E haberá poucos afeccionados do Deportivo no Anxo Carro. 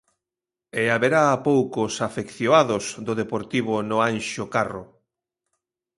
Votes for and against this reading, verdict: 1, 2, rejected